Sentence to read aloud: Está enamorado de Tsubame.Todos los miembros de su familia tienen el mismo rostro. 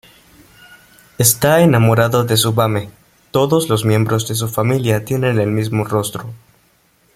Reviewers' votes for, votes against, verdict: 2, 0, accepted